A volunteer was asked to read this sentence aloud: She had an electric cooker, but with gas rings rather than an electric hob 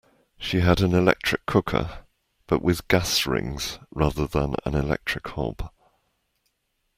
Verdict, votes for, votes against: accepted, 2, 0